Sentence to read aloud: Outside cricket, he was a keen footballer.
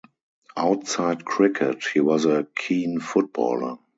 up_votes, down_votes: 2, 0